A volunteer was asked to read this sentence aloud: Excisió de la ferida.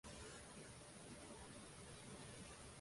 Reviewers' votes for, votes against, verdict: 0, 2, rejected